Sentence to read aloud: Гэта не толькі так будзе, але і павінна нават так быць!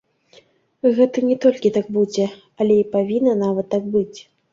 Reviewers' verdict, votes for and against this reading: rejected, 0, 2